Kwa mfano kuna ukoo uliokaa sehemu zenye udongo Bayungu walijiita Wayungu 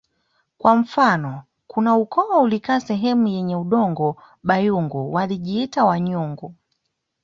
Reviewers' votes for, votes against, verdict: 2, 0, accepted